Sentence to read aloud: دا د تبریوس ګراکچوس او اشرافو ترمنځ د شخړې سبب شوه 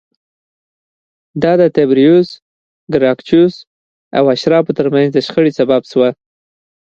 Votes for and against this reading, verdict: 2, 0, accepted